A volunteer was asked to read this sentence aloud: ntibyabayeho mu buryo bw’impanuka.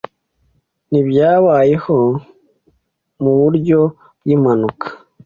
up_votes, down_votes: 2, 0